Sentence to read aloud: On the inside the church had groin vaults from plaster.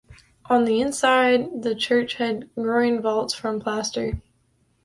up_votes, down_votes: 2, 0